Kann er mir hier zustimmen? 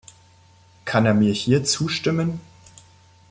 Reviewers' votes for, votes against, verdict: 2, 0, accepted